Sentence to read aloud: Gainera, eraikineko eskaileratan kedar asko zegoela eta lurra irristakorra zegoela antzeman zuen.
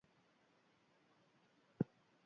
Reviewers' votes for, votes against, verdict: 0, 2, rejected